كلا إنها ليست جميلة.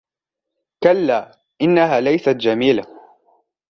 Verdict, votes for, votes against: accepted, 2, 0